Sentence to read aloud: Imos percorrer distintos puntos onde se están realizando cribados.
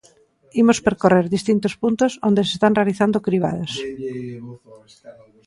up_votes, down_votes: 2, 0